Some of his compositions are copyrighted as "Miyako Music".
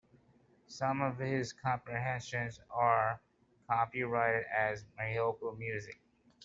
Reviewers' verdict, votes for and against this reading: rejected, 0, 2